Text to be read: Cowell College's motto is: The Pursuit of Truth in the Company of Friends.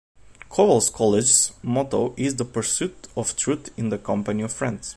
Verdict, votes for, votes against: rejected, 0, 2